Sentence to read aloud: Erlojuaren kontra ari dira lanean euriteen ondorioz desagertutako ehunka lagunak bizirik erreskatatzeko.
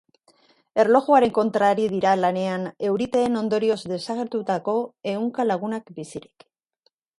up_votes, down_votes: 0, 2